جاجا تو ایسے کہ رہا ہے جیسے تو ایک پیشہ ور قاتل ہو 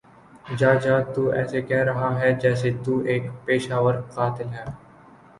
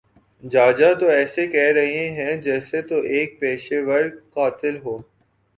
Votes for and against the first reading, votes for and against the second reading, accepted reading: 0, 2, 3, 0, second